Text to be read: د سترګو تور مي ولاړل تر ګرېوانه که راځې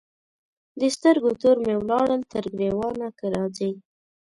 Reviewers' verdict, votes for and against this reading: accepted, 2, 0